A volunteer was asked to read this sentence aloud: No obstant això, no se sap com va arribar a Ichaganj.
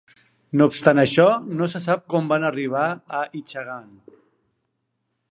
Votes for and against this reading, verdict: 1, 2, rejected